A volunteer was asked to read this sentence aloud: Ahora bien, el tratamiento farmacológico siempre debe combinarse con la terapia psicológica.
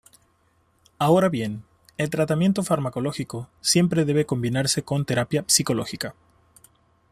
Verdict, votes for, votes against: rejected, 1, 2